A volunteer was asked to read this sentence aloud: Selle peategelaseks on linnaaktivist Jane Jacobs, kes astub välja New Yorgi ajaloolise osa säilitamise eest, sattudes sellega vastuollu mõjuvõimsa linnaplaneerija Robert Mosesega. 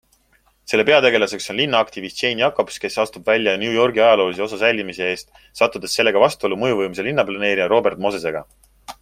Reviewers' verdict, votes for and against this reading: accepted, 2, 0